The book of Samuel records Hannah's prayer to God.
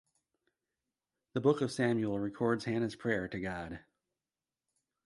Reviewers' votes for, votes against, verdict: 2, 0, accepted